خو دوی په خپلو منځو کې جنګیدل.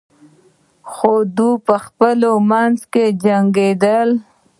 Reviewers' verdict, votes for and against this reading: rejected, 1, 2